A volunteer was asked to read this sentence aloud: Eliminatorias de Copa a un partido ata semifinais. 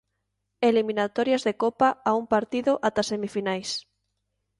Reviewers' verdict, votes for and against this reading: accepted, 3, 0